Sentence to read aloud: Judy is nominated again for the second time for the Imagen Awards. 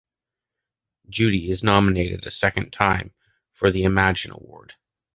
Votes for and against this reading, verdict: 1, 2, rejected